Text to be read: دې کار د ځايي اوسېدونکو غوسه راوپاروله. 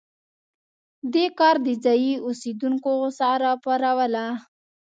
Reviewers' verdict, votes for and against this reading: accepted, 2, 0